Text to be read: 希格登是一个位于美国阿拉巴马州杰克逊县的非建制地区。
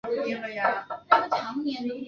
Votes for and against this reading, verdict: 0, 3, rejected